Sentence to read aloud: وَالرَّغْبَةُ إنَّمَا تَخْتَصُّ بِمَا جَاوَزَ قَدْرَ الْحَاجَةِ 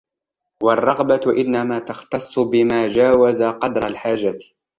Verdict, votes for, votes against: rejected, 1, 2